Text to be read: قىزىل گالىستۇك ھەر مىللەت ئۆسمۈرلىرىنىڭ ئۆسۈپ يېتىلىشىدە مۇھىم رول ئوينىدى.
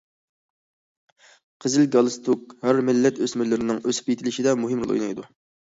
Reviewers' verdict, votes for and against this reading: rejected, 0, 2